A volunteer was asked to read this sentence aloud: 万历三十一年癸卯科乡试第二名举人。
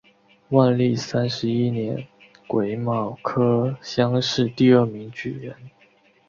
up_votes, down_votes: 2, 0